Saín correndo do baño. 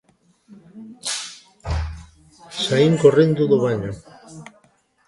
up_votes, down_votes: 0, 2